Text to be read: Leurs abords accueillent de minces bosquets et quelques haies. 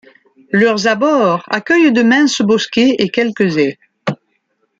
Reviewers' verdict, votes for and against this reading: accepted, 2, 1